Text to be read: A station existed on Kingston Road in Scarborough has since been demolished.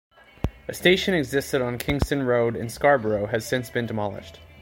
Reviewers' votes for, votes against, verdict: 2, 0, accepted